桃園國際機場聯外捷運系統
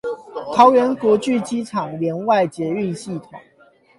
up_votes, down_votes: 4, 8